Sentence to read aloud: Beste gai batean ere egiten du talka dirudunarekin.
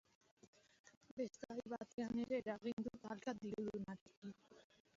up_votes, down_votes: 1, 2